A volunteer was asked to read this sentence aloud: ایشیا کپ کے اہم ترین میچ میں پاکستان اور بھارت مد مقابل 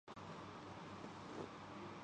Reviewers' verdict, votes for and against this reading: rejected, 0, 3